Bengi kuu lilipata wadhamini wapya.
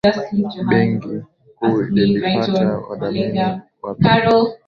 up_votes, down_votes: 3, 5